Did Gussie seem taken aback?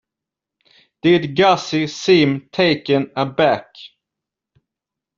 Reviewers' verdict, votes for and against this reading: accepted, 2, 1